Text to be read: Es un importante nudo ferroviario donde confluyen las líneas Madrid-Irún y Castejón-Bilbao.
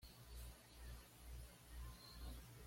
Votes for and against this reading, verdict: 1, 2, rejected